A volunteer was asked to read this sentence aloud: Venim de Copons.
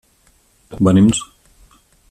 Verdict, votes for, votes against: rejected, 0, 2